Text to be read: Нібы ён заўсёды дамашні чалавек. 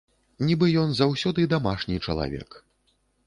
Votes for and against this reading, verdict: 2, 0, accepted